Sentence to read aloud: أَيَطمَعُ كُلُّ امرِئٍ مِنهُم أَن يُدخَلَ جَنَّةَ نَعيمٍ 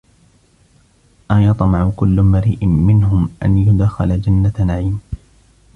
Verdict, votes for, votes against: rejected, 0, 2